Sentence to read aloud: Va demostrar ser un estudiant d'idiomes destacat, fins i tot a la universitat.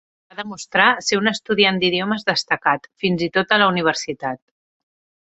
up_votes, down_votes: 1, 2